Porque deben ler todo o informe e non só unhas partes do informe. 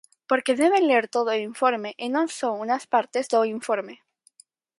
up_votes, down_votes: 0, 4